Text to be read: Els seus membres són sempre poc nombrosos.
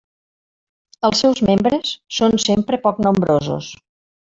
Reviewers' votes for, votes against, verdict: 3, 1, accepted